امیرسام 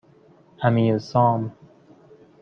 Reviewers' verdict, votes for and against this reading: accepted, 2, 0